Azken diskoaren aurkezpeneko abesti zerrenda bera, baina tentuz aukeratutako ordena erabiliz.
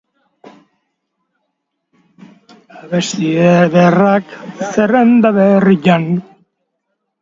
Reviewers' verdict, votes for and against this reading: rejected, 0, 4